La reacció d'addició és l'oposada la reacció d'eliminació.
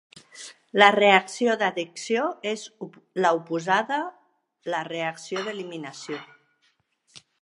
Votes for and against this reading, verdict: 0, 2, rejected